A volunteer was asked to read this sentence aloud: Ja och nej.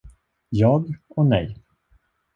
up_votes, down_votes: 0, 2